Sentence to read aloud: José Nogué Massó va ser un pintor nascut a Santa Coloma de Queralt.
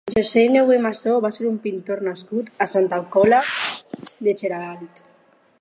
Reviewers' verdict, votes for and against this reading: rejected, 0, 4